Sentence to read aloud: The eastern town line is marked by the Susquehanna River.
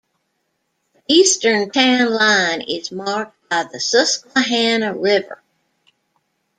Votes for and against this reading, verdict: 1, 2, rejected